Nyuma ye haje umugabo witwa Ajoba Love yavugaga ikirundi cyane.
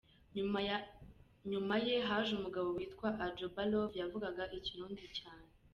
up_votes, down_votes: 0, 2